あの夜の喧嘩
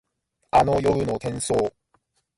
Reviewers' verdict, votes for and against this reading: rejected, 0, 2